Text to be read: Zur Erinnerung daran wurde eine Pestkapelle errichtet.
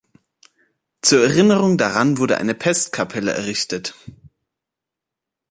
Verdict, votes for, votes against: accepted, 2, 0